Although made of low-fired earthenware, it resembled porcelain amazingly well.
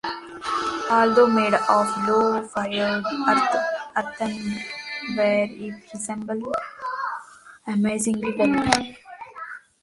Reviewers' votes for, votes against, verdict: 0, 2, rejected